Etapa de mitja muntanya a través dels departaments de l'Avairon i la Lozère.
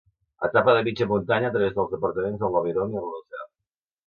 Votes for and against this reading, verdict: 1, 2, rejected